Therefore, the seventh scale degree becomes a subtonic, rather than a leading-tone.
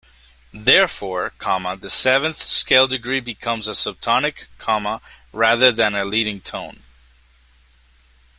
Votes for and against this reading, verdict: 0, 2, rejected